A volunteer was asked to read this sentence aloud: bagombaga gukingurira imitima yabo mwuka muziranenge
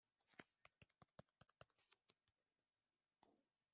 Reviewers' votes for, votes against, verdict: 0, 2, rejected